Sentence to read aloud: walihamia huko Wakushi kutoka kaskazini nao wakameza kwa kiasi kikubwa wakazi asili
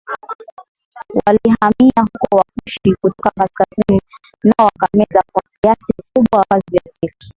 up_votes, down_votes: 0, 2